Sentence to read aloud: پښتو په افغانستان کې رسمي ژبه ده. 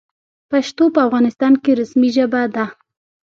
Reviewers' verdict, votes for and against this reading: rejected, 0, 2